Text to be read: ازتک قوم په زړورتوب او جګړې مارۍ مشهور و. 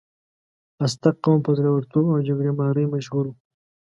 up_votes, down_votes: 2, 0